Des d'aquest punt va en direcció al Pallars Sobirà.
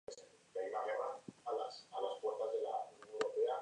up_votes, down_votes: 0, 2